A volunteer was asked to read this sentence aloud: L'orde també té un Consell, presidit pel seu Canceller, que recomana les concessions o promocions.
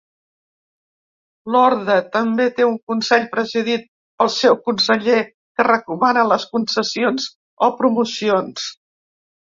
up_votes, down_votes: 0, 2